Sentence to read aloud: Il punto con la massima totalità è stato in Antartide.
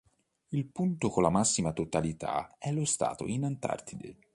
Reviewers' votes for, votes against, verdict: 1, 2, rejected